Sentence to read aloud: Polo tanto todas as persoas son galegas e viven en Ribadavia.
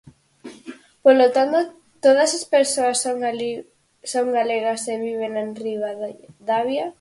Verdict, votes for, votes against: rejected, 2, 4